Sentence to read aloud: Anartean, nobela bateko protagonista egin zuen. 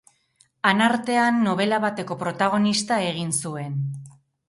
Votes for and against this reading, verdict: 2, 0, accepted